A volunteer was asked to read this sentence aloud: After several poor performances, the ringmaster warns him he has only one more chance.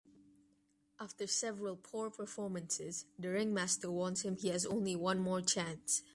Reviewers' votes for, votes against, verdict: 2, 1, accepted